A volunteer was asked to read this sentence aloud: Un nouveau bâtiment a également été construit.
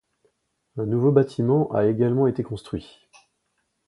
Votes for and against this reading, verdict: 2, 0, accepted